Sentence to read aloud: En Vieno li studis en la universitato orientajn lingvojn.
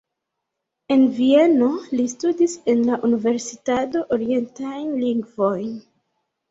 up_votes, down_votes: 2, 1